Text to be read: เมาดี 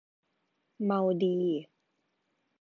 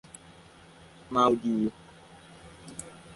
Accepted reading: first